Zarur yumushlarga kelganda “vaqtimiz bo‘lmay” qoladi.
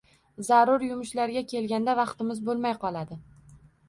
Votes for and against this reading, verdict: 1, 2, rejected